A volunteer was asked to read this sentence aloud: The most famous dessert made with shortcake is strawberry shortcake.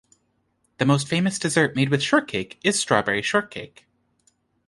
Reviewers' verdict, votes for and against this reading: accepted, 2, 0